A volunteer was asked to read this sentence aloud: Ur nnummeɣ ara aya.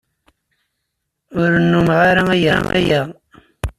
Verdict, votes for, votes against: rejected, 1, 2